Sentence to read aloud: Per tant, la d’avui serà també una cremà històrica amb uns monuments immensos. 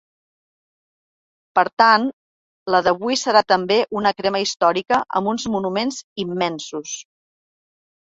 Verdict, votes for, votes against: rejected, 0, 2